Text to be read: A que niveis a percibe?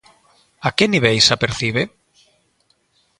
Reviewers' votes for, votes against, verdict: 2, 0, accepted